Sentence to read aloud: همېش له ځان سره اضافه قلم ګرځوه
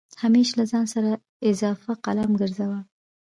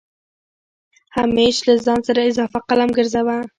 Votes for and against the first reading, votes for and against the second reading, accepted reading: 0, 2, 2, 1, second